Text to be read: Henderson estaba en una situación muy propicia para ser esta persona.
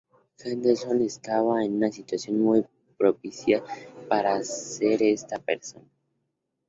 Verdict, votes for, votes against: rejected, 0, 2